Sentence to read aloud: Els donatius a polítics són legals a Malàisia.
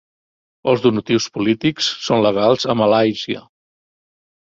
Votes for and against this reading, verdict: 0, 2, rejected